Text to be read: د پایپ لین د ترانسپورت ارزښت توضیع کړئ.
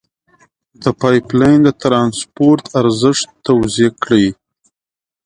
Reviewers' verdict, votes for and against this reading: accepted, 2, 0